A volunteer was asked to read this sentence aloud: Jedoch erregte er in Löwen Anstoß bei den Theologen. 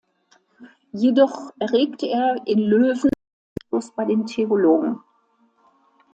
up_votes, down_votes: 1, 2